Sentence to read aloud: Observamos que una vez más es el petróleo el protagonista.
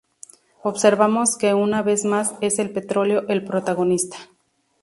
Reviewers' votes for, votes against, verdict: 2, 0, accepted